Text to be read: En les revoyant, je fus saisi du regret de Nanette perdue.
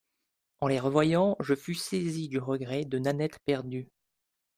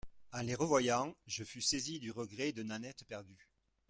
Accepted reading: first